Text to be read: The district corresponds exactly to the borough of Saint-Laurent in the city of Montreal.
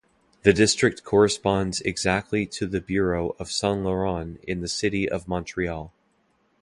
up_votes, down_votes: 0, 2